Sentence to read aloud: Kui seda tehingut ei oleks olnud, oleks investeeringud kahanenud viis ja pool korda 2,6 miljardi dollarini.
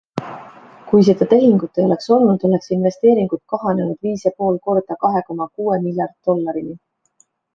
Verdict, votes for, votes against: rejected, 0, 2